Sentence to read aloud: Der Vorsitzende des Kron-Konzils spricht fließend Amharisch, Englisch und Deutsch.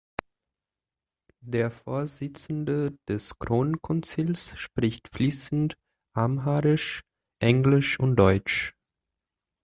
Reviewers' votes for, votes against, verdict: 1, 2, rejected